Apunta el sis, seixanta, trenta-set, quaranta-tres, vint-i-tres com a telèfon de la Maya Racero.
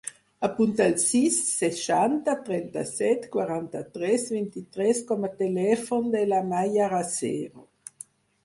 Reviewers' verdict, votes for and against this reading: accepted, 4, 2